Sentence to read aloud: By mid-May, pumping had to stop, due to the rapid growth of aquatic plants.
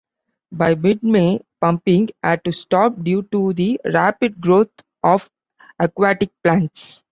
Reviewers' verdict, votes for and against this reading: accepted, 2, 1